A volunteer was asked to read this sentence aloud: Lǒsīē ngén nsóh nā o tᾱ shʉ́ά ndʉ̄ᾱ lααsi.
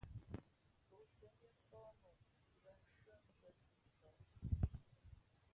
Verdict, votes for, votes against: rejected, 0, 2